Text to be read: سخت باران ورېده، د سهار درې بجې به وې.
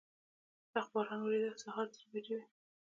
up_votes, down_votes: 2, 1